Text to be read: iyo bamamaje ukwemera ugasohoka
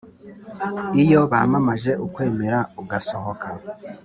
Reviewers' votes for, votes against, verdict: 3, 0, accepted